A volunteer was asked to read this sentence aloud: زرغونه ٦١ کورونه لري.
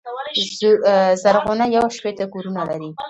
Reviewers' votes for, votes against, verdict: 0, 2, rejected